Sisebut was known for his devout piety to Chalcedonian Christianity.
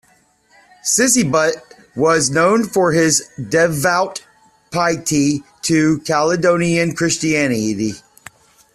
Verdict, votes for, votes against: rejected, 1, 2